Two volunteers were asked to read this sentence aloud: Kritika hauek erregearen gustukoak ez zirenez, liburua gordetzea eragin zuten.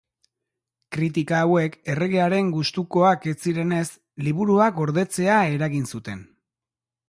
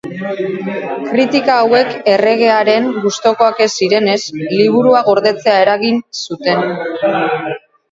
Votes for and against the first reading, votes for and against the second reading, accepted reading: 2, 1, 2, 4, first